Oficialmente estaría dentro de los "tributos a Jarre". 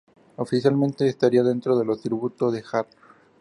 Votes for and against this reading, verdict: 0, 2, rejected